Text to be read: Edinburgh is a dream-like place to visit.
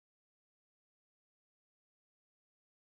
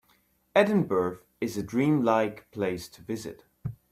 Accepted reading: second